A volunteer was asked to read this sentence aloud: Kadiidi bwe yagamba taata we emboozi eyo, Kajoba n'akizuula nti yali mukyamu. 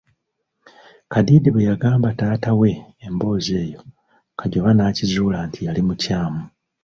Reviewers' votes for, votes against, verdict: 2, 0, accepted